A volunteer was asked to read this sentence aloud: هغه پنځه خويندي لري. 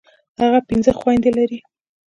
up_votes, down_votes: 2, 1